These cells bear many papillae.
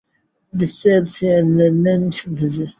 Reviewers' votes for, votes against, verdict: 0, 3, rejected